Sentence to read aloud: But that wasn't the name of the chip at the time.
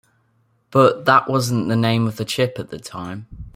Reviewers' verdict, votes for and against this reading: accepted, 2, 0